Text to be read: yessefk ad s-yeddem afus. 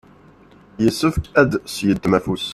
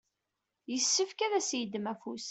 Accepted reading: second